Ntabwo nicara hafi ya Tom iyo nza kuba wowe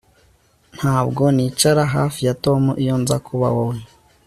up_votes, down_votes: 3, 0